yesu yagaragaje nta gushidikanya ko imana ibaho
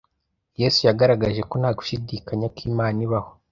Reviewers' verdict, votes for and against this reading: rejected, 0, 2